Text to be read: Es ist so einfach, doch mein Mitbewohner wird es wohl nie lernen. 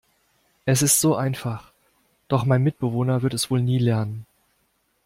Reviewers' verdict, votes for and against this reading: accepted, 2, 0